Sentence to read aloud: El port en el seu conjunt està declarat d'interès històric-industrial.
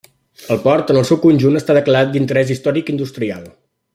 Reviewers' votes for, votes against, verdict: 2, 0, accepted